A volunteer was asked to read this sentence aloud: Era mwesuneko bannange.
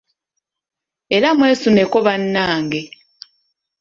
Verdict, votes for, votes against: accepted, 2, 0